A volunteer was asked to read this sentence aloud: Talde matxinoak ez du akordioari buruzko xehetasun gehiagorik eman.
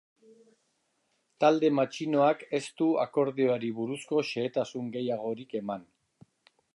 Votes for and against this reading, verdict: 2, 0, accepted